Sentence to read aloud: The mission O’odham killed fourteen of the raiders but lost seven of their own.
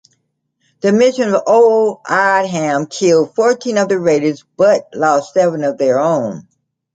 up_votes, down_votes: 2, 0